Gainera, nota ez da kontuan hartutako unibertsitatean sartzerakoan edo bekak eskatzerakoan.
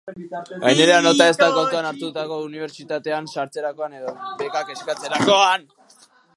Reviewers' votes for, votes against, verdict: 3, 3, rejected